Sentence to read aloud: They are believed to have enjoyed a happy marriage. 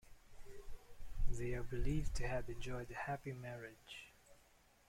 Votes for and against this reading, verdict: 2, 0, accepted